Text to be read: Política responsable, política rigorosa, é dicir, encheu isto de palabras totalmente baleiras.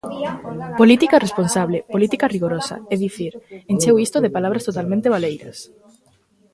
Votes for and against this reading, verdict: 2, 1, accepted